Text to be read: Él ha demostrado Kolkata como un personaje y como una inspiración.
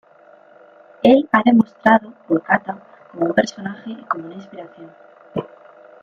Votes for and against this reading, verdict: 1, 2, rejected